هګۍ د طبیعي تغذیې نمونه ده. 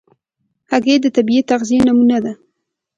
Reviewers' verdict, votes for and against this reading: accepted, 2, 1